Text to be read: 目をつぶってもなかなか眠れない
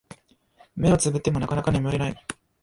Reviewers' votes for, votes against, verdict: 2, 0, accepted